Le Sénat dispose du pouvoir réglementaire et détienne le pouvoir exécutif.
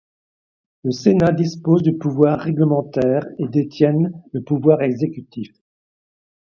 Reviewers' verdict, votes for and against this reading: accepted, 2, 0